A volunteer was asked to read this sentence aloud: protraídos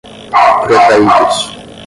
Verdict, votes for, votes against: rejected, 5, 10